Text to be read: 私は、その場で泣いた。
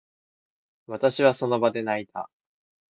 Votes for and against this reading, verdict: 3, 0, accepted